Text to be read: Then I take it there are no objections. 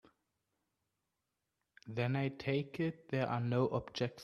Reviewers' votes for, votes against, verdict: 0, 2, rejected